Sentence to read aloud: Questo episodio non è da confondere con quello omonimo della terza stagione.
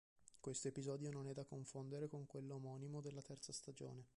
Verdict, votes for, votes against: rejected, 0, 2